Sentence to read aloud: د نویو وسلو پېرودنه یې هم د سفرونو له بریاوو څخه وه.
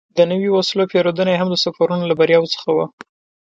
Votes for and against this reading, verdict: 3, 0, accepted